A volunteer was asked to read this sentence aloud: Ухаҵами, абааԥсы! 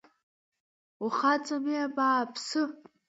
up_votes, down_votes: 1, 2